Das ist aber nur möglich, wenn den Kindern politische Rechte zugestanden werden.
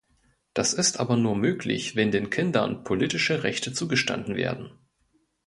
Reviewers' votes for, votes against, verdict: 2, 0, accepted